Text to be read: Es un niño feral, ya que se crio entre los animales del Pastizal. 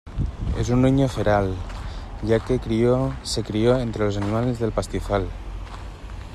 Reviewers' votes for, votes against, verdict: 1, 2, rejected